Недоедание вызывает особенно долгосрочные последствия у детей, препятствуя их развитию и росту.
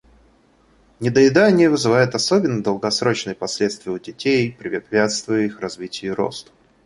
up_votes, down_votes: 0, 2